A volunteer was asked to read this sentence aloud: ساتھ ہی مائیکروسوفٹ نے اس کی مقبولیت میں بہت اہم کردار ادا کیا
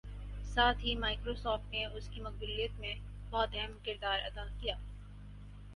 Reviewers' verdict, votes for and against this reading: accepted, 4, 0